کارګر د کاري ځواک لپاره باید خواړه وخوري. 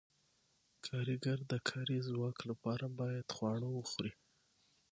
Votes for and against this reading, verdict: 6, 0, accepted